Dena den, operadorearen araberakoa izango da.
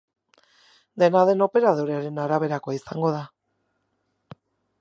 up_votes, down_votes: 2, 0